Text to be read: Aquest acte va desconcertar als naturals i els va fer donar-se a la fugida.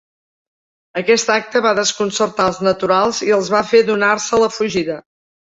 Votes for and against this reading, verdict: 2, 0, accepted